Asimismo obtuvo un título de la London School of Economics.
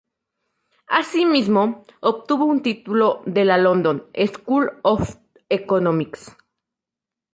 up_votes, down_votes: 2, 0